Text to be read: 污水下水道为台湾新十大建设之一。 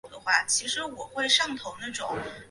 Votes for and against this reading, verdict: 0, 3, rejected